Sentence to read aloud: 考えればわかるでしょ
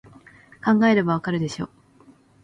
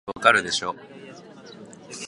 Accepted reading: first